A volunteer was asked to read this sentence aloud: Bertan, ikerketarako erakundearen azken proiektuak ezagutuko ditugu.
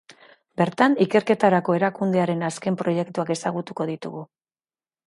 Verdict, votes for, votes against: accepted, 2, 0